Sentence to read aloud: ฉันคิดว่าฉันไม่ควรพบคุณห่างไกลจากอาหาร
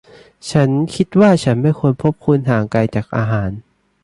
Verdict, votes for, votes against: accepted, 2, 0